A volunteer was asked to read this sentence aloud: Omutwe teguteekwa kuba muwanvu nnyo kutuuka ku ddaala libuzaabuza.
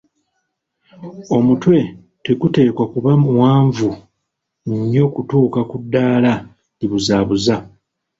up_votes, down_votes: 2, 0